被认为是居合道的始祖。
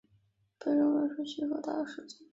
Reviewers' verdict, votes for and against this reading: rejected, 0, 2